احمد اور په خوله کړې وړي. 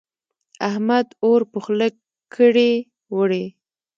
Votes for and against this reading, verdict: 1, 2, rejected